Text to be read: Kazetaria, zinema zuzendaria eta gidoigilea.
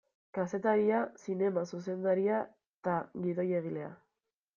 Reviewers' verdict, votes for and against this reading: rejected, 1, 2